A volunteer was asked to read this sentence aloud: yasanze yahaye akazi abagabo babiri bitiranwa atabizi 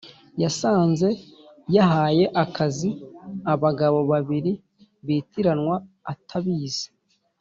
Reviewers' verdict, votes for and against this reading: accepted, 2, 0